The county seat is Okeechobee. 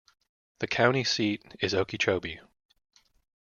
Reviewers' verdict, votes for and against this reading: accepted, 2, 1